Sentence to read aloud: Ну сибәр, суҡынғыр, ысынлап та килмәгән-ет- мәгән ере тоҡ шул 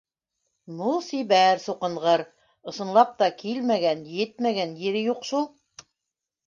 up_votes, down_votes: 2, 1